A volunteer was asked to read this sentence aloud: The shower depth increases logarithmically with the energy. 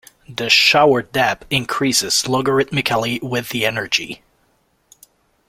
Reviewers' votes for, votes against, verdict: 0, 2, rejected